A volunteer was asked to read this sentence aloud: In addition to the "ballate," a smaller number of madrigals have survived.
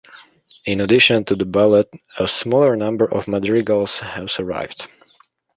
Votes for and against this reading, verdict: 2, 1, accepted